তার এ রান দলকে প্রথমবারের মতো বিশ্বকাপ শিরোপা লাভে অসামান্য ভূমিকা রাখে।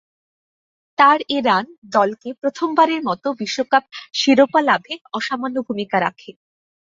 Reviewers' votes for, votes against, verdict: 2, 0, accepted